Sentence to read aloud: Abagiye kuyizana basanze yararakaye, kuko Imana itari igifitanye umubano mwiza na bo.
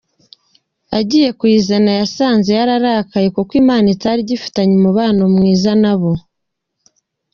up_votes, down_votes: 3, 0